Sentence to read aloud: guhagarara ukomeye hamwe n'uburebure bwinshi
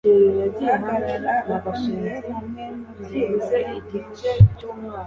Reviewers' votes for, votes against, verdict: 1, 2, rejected